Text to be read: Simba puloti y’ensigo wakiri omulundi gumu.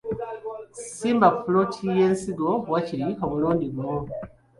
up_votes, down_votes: 1, 2